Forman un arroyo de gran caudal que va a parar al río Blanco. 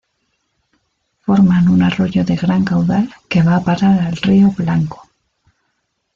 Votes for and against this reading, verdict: 1, 2, rejected